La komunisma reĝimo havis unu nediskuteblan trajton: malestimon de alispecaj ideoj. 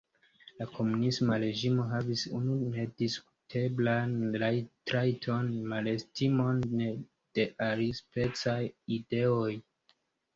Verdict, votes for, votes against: accepted, 2, 1